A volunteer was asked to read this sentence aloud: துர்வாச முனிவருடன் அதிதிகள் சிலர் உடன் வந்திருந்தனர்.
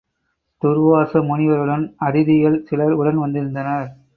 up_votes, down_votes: 2, 0